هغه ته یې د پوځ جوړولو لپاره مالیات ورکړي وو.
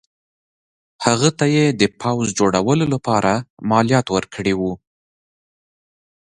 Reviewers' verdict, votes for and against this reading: accepted, 2, 0